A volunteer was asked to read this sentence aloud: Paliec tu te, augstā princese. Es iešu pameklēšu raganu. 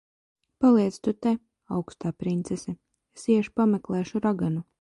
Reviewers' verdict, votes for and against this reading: accepted, 2, 0